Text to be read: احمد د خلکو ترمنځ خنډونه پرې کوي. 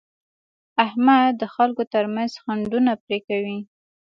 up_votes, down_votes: 2, 0